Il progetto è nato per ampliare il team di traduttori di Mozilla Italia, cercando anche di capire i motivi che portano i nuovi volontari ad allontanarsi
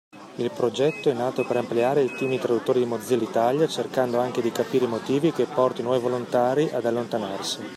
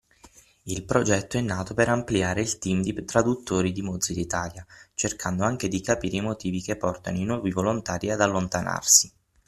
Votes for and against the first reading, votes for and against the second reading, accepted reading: 2, 1, 3, 6, first